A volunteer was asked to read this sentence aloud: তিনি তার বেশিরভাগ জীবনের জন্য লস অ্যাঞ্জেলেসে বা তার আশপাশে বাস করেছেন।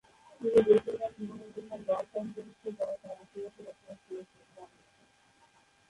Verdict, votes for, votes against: rejected, 0, 2